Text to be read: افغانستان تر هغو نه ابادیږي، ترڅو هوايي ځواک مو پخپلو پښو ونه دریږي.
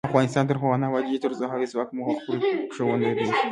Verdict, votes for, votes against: accepted, 2, 0